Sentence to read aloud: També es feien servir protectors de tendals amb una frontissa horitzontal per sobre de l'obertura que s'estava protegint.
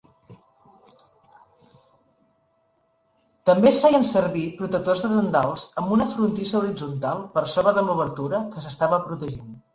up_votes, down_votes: 2, 1